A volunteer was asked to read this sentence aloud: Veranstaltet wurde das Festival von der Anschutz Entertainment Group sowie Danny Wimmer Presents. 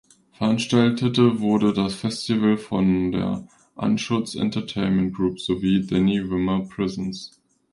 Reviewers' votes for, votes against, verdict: 0, 2, rejected